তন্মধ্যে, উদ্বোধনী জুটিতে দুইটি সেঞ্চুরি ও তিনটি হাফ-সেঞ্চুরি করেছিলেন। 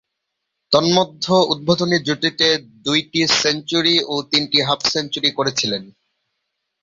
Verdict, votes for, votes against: rejected, 0, 3